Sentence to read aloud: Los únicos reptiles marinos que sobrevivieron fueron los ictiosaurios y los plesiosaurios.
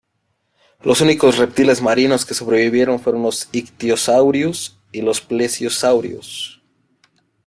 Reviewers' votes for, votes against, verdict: 2, 1, accepted